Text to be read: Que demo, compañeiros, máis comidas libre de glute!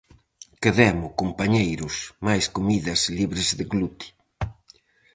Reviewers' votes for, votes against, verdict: 2, 2, rejected